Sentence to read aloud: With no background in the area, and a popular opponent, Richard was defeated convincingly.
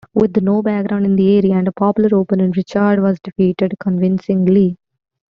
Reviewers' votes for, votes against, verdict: 2, 1, accepted